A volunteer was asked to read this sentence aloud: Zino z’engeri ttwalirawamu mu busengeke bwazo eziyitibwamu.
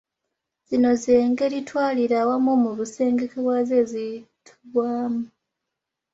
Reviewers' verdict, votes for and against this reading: rejected, 0, 2